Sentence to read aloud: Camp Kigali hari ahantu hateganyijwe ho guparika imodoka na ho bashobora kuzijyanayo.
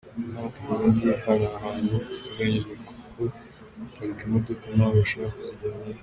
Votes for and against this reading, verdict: 2, 3, rejected